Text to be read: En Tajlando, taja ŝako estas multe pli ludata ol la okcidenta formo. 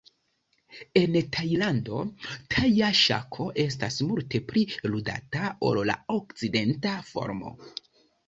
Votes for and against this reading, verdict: 2, 0, accepted